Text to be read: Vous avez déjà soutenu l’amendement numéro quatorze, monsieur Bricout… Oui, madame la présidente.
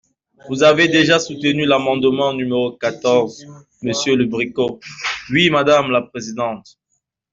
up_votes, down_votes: 0, 2